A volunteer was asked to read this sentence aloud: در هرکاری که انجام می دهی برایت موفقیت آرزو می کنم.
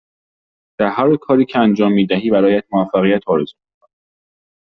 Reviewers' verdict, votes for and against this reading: rejected, 1, 2